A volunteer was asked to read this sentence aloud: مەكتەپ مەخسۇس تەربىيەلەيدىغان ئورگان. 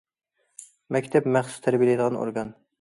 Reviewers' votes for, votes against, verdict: 2, 0, accepted